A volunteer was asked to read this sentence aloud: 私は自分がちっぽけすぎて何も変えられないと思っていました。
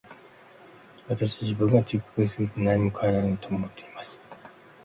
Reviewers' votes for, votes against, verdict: 2, 0, accepted